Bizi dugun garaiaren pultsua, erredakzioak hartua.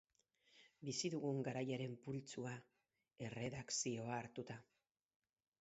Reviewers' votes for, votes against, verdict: 0, 4, rejected